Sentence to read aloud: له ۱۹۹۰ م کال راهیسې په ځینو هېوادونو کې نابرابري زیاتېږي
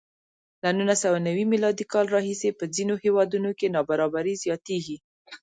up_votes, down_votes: 0, 2